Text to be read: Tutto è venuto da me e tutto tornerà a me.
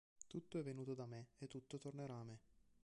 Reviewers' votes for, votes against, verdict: 1, 2, rejected